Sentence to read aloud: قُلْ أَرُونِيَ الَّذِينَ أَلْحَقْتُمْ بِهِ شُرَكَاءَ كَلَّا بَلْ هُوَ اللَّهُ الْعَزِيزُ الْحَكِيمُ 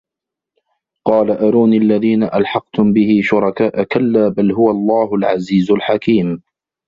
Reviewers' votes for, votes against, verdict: 1, 2, rejected